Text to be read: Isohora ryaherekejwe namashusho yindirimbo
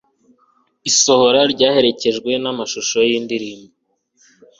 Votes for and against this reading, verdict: 2, 0, accepted